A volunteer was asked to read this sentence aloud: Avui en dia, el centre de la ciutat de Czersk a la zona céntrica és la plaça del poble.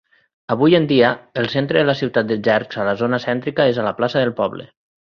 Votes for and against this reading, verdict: 3, 0, accepted